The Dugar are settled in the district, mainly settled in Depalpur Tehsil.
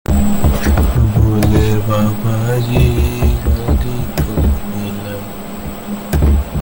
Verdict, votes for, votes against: rejected, 0, 2